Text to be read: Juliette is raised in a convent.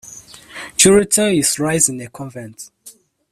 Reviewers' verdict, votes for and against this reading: rejected, 0, 2